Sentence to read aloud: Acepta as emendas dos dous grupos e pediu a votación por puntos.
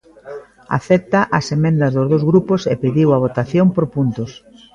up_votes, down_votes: 2, 0